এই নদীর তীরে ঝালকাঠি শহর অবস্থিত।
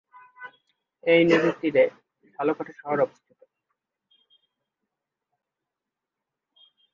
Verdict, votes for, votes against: rejected, 2, 3